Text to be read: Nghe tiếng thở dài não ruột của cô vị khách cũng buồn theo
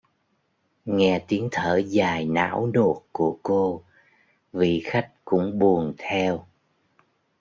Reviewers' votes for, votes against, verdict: 1, 2, rejected